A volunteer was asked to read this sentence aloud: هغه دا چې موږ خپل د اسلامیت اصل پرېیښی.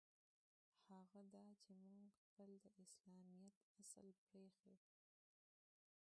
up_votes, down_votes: 1, 2